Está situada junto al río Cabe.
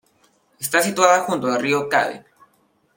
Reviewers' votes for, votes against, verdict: 1, 2, rejected